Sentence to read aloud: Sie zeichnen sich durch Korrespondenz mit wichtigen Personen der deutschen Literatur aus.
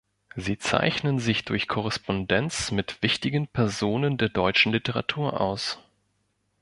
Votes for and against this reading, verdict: 1, 2, rejected